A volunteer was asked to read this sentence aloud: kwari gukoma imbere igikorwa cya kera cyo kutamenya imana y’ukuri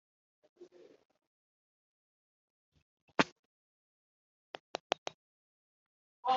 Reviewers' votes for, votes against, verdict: 0, 3, rejected